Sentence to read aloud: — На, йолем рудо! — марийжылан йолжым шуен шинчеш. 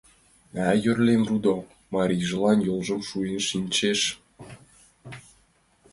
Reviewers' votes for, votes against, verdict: 0, 2, rejected